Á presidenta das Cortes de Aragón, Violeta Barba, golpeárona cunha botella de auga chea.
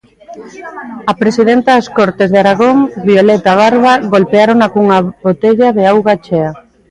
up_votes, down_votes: 2, 1